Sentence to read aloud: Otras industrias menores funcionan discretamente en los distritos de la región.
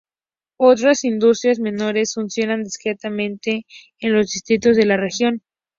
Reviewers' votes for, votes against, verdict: 2, 0, accepted